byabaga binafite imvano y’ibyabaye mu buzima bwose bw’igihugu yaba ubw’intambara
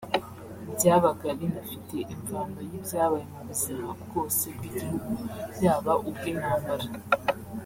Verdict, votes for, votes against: accepted, 2, 0